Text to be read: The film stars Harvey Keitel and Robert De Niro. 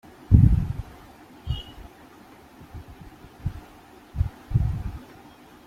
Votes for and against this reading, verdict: 0, 2, rejected